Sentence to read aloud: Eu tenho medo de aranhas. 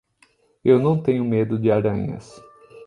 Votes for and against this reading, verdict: 0, 3, rejected